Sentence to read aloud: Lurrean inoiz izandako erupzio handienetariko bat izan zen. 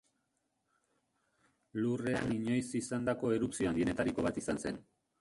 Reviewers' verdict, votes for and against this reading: rejected, 1, 2